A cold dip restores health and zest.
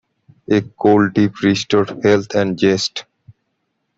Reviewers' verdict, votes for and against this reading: rejected, 0, 2